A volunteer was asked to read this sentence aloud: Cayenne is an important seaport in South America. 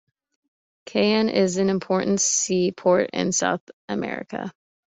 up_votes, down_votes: 3, 0